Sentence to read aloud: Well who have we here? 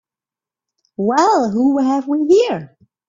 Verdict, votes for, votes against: accepted, 2, 0